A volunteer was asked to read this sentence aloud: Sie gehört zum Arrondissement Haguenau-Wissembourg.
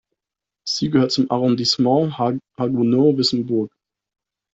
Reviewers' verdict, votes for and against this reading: rejected, 1, 2